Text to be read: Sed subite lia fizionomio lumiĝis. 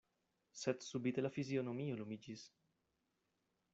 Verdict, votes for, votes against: rejected, 0, 2